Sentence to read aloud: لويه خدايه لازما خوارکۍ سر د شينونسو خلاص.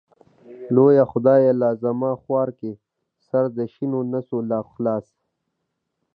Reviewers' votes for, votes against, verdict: 1, 2, rejected